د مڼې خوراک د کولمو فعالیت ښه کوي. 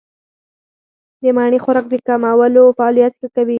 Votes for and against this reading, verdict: 4, 0, accepted